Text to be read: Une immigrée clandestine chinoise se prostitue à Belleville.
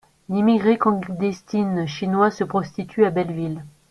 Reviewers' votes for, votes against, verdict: 0, 2, rejected